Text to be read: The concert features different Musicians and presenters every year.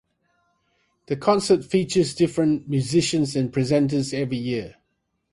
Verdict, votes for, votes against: accepted, 2, 0